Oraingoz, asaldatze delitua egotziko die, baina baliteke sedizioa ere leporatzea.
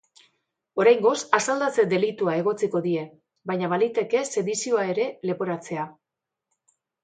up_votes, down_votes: 3, 0